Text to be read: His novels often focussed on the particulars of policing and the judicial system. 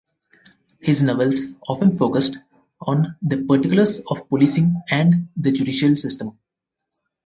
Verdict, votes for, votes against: accepted, 4, 0